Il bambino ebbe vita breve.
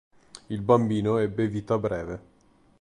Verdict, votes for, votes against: accepted, 2, 0